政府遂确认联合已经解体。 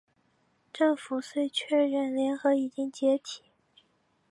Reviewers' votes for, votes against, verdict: 8, 0, accepted